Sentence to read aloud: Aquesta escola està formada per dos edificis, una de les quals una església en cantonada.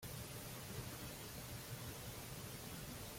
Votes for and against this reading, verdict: 0, 2, rejected